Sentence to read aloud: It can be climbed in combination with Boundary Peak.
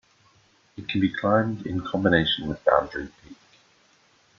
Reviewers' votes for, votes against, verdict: 2, 0, accepted